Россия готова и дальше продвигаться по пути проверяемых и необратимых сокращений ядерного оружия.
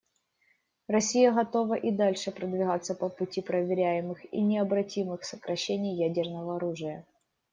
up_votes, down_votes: 2, 0